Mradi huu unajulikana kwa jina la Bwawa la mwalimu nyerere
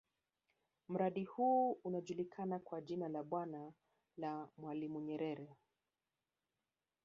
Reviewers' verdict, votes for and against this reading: accepted, 2, 0